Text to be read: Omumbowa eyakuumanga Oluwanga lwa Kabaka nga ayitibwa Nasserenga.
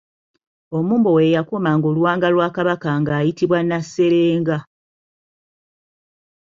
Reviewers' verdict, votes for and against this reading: accepted, 3, 0